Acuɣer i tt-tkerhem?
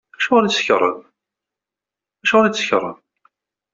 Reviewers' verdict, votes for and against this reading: rejected, 0, 2